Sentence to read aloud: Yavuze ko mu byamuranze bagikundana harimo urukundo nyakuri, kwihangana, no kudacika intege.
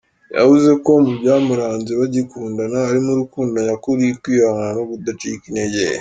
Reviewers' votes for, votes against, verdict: 2, 0, accepted